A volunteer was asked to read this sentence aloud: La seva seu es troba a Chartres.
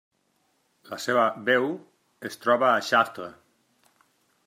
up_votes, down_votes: 1, 2